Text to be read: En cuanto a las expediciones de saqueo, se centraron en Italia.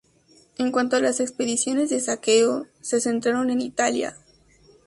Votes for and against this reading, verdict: 2, 2, rejected